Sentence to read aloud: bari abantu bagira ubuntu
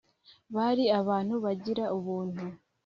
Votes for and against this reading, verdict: 3, 0, accepted